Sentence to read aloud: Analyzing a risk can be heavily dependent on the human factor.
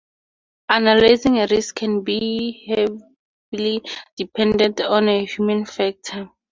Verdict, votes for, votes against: rejected, 0, 2